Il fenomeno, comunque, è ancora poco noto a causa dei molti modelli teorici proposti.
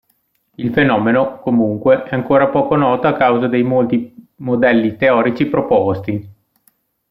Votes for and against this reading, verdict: 2, 0, accepted